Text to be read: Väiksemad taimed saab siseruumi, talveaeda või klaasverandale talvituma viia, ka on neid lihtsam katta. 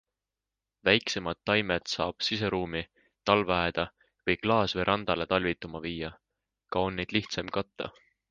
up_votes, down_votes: 3, 0